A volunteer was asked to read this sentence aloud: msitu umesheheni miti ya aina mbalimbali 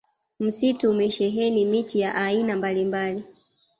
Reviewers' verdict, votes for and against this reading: accepted, 2, 0